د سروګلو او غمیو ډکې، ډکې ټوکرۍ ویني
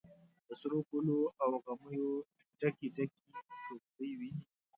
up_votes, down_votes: 1, 2